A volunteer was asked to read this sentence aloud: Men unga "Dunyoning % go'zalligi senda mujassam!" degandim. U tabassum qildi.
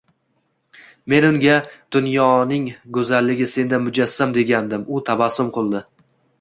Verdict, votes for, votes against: accepted, 2, 0